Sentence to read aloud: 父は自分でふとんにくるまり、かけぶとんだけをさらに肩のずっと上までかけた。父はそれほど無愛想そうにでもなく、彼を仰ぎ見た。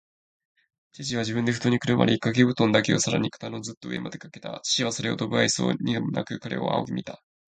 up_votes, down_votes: 1, 2